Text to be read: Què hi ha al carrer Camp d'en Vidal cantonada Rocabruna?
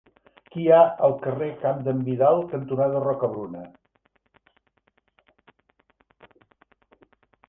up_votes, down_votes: 1, 2